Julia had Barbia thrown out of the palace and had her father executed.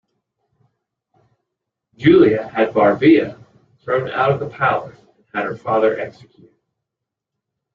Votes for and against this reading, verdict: 0, 2, rejected